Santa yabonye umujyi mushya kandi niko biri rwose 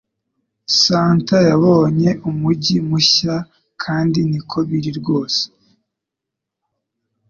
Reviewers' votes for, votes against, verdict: 2, 0, accepted